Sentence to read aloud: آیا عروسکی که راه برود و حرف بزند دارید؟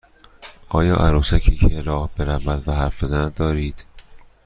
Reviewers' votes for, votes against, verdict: 2, 0, accepted